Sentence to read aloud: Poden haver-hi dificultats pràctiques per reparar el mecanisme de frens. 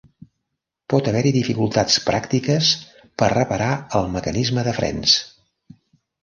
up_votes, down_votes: 1, 2